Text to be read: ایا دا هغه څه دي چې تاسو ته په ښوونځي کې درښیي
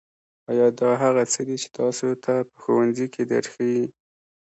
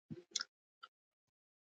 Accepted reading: first